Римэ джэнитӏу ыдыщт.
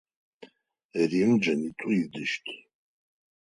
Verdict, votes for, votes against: rejected, 2, 4